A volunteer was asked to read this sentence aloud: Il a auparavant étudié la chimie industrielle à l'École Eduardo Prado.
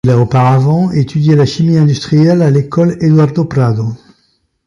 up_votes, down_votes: 2, 0